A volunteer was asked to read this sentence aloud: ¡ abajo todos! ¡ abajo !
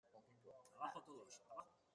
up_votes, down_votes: 0, 2